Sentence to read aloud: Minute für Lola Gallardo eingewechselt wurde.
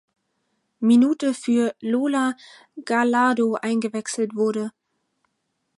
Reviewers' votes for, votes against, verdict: 4, 0, accepted